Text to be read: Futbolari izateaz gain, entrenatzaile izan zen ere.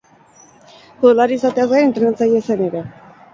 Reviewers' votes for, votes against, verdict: 4, 6, rejected